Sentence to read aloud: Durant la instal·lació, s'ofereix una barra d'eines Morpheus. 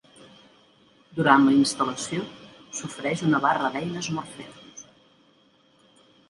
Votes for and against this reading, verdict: 2, 0, accepted